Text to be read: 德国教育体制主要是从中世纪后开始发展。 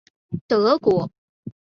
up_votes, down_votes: 0, 3